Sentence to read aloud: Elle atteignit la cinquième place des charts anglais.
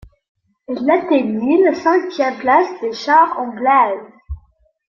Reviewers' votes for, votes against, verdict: 2, 1, accepted